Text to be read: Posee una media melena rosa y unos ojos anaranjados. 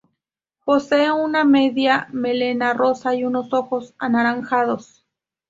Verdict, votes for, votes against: rejected, 0, 2